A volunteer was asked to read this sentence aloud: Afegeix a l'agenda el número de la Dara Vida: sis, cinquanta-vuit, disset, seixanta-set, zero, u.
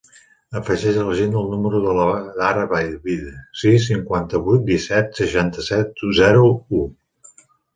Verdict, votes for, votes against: rejected, 1, 2